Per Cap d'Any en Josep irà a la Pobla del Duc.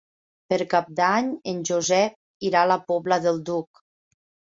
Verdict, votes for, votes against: accepted, 3, 0